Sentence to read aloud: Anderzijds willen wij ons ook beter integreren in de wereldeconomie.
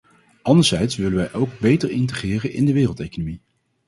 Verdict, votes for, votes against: rejected, 0, 2